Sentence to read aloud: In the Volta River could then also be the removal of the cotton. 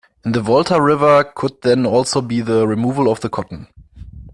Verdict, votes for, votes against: accepted, 2, 0